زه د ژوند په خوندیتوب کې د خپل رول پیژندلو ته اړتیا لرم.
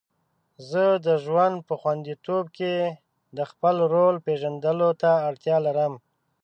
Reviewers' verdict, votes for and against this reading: accepted, 2, 0